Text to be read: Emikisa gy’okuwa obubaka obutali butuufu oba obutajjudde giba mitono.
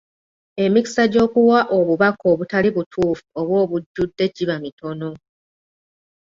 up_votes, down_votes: 0, 2